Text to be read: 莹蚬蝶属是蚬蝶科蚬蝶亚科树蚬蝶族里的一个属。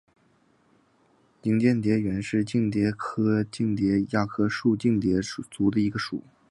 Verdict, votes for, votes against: accepted, 5, 0